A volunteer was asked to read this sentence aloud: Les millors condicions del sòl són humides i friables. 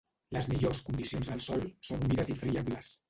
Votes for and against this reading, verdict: 2, 3, rejected